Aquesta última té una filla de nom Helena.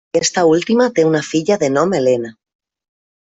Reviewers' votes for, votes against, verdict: 0, 2, rejected